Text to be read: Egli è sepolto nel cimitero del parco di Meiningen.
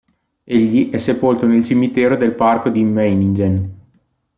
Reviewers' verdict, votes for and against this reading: accepted, 2, 1